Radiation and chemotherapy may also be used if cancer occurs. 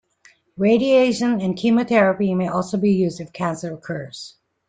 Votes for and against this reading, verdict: 2, 0, accepted